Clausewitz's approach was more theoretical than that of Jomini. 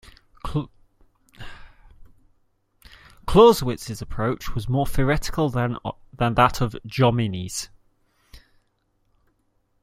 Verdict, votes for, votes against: rejected, 0, 2